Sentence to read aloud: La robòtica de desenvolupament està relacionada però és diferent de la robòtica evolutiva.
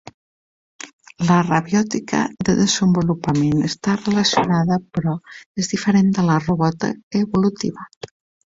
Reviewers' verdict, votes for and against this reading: rejected, 1, 2